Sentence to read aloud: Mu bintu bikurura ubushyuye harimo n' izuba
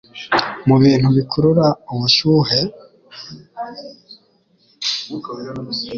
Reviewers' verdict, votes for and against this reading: rejected, 1, 2